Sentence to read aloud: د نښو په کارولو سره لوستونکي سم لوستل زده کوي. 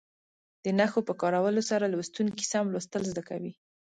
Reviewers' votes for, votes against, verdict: 2, 0, accepted